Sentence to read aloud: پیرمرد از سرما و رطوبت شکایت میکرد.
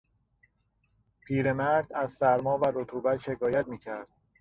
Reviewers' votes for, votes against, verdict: 3, 0, accepted